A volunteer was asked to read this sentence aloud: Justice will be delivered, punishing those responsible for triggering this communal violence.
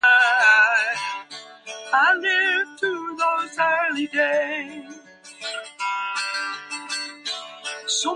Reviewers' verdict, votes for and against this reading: rejected, 1, 3